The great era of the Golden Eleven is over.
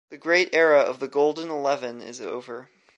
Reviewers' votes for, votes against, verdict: 2, 0, accepted